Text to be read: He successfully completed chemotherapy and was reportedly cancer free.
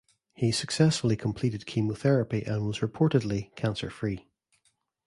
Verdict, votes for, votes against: accepted, 2, 0